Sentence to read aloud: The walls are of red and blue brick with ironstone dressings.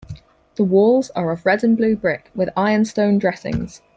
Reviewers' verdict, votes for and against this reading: accepted, 4, 0